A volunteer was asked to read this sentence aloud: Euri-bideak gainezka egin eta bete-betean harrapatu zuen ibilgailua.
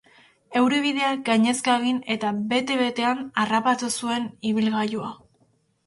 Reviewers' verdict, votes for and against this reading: accepted, 2, 0